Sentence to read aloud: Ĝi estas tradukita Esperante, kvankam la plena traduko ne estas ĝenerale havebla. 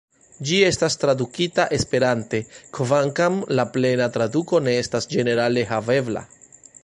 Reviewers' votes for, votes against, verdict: 2, 1, accepted